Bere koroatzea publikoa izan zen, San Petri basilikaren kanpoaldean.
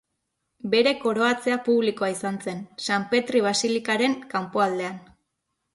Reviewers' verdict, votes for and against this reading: accepted, 2, 0